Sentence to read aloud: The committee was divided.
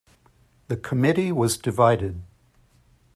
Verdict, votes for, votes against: accepted, 2, 0